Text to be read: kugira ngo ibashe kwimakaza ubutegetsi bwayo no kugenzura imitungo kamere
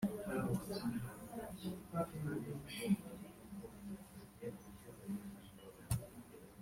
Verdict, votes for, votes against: rejected, 0, 2